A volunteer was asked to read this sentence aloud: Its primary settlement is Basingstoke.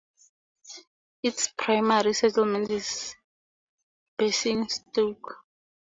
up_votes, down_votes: 4, 0